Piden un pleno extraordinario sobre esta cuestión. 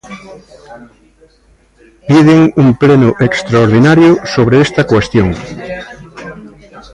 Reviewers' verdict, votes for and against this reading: accepted, 2, 0